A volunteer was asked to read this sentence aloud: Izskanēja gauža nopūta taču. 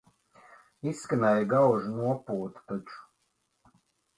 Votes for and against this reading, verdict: 3, 0, accepted